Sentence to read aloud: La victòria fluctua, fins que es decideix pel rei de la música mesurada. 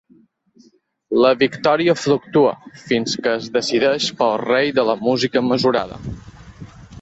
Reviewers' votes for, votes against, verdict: 2, 0, accepted